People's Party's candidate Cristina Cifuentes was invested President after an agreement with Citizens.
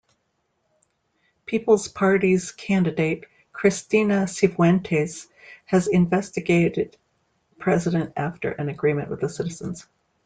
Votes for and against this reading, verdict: 0, 2, rejected